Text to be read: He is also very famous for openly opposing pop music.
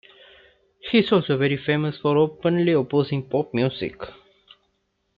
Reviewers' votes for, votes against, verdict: 2, 0, accepted